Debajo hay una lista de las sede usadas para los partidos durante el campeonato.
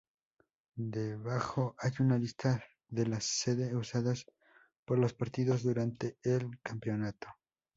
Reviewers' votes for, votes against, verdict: 0, 2, rejected